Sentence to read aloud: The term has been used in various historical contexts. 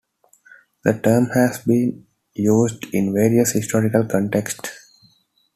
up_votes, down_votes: 2, 0